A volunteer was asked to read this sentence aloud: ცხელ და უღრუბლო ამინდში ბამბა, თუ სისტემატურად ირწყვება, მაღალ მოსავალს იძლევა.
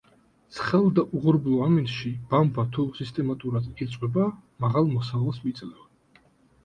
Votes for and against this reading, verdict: 2, 0, accepted